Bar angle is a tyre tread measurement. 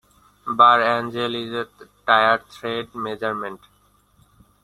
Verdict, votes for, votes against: rejected, 0, 2